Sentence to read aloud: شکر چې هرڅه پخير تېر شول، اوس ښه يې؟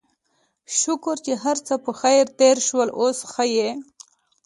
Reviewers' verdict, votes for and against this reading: accepted, 2, 0